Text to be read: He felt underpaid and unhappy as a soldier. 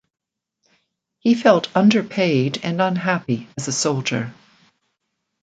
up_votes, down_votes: 2, 0